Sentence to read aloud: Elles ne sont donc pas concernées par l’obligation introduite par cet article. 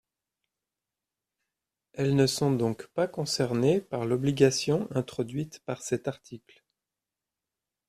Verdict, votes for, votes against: accepted, 2, 0